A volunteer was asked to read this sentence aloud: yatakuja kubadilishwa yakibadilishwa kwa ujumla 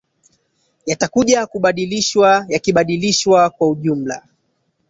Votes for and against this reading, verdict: 1, 2, rejected